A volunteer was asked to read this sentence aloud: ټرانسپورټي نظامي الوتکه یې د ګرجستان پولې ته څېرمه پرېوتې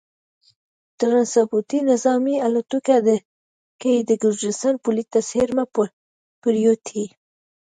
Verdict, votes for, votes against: rejected, 1, 2